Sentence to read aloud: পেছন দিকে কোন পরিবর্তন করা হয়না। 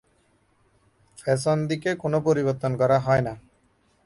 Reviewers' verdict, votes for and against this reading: rejected, 3, 3